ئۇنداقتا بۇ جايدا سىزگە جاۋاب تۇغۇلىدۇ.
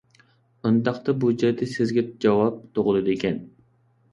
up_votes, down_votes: 0, 2